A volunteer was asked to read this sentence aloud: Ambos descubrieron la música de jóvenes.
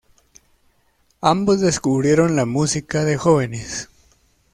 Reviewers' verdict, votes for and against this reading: accepted, 2, 0